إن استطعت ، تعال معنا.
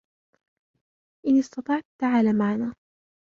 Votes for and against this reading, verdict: 0, 2, rejected